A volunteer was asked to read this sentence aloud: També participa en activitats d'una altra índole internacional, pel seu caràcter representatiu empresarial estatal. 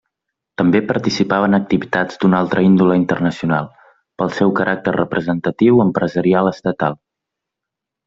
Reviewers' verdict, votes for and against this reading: rejected, 0, 2